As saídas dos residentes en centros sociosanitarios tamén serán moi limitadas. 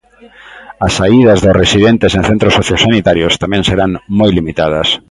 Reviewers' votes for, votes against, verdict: 2, 0, accepted